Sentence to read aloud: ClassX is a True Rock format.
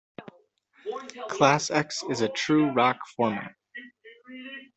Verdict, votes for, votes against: accepted, 2, 0